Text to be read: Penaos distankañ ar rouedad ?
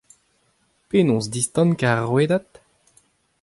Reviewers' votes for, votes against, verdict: 2, 0, accepted